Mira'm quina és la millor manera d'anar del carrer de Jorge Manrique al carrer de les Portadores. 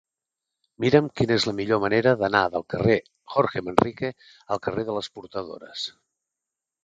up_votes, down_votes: 2, 1